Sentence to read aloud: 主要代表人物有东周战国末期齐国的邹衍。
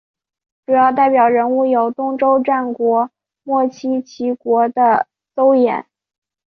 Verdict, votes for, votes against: accepted, 4, 0